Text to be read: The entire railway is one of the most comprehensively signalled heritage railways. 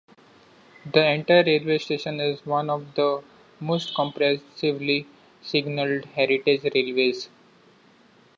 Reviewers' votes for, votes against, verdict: 0, 2, rejected